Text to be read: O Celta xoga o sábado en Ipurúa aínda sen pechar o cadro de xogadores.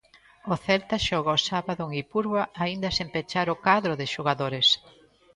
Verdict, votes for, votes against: rejected, 0, 2